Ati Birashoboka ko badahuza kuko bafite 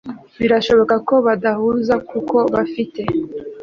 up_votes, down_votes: 3, 0